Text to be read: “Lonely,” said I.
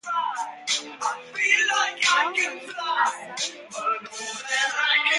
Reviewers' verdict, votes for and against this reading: rejected, 0, 2